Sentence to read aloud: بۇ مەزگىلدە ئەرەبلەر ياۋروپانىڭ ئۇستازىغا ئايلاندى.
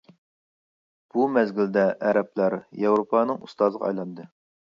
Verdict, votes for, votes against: accepted, 2, 0